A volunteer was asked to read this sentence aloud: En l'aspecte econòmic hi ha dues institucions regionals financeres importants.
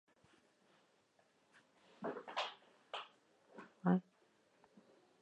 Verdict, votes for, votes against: rejected, 0, 2